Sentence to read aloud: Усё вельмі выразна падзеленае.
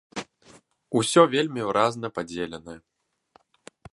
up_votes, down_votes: 1, 2